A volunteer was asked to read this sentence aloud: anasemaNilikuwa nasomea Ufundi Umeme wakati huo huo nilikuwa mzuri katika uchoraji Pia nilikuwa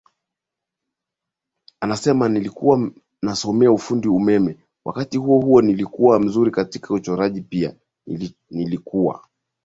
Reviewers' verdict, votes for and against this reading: rejected, 2, 4